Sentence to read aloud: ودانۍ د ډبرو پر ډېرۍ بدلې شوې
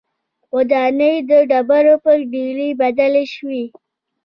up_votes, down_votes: 2, 0